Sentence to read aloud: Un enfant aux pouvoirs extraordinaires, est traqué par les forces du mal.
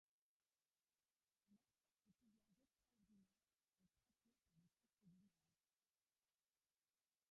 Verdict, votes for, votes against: rejected, 0, 2